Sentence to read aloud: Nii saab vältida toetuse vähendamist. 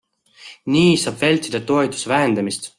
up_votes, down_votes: 2, 0